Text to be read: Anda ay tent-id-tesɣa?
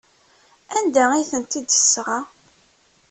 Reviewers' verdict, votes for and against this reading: accepted, 2, 0